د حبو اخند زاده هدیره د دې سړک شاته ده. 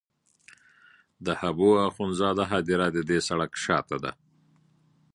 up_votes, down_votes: 2, 0